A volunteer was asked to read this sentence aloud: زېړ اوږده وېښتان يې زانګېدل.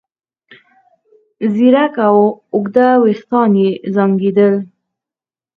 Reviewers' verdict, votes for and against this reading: rejected, 2, 4